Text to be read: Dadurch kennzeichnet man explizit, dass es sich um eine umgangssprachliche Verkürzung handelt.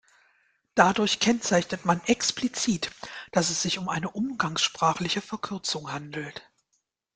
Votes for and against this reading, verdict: 2, 0, accepted